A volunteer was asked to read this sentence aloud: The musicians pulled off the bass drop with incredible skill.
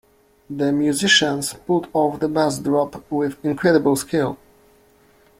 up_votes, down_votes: 1, 2